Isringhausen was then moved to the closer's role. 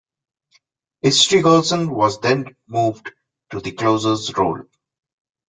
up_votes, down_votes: 2, 0